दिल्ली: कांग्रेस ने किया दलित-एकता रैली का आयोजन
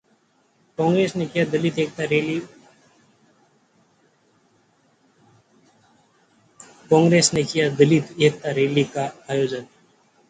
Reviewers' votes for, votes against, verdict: 0, 2, rejected